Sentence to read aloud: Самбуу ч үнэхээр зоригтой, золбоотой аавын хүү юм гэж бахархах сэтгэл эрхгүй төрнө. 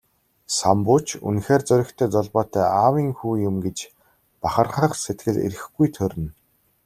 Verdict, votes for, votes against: accepted, 2, 0